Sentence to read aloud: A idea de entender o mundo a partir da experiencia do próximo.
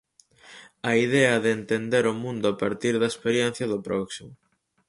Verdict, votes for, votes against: accepted, 4, 0